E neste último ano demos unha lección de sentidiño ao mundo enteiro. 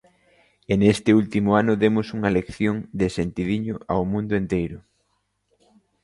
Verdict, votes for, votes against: accepted, 2, 0